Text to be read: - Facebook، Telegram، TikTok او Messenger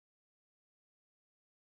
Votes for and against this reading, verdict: 0, 4, rejected